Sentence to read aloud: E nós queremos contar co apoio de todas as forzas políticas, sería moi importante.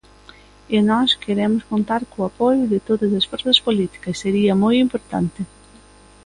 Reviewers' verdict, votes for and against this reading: accepted, 2, 0